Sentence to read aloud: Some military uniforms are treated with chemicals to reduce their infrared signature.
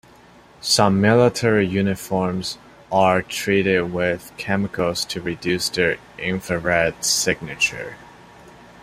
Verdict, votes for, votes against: accepted, 2, 0